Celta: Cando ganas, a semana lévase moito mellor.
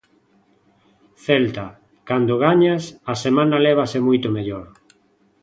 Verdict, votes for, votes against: rejected, 0, 2